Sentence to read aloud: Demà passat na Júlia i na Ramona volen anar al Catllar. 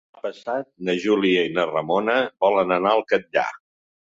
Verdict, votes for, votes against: rejected, 0, 2